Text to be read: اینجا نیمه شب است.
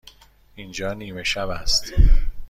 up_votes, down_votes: 2, 0